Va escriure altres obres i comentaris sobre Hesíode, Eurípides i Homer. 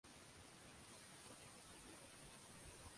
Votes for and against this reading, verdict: 0, 2, rejected